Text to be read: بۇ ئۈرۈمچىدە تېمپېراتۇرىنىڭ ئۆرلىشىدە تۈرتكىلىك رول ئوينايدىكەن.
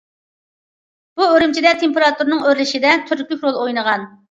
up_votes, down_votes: 1, 2